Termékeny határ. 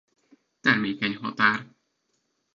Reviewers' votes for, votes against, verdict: 1, 2, rejected